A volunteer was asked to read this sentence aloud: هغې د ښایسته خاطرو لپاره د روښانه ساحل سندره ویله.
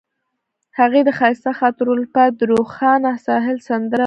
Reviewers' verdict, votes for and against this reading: accepted, 2, 1